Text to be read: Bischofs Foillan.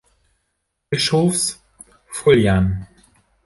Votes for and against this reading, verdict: 3, 1, accepted